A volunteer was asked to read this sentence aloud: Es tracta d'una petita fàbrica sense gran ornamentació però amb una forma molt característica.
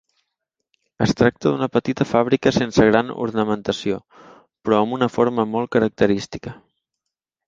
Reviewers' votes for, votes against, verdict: 3, 0, accepted